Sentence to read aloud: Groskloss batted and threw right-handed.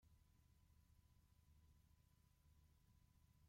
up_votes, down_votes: 0, 2